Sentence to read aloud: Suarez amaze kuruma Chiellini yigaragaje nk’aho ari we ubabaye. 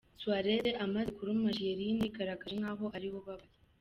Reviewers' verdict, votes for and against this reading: accepted, 2, 0